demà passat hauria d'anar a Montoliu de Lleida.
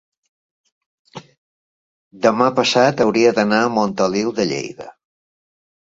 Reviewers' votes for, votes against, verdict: 3, 0, accepted